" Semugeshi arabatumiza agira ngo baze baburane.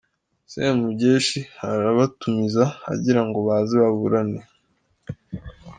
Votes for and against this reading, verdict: 2, 0, accepted